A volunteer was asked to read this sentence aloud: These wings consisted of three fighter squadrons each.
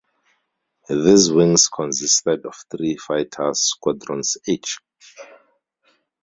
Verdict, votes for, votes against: rejected, 0, 2